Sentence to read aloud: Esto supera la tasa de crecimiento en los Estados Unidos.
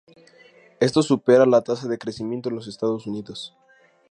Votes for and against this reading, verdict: 2, 0, accepted